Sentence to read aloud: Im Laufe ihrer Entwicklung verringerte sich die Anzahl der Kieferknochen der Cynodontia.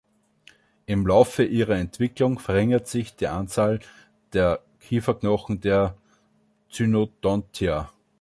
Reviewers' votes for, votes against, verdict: 1, 2, rejected